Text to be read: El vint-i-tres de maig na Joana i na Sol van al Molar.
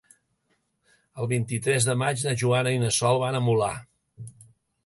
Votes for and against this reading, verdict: 0, 2, rejected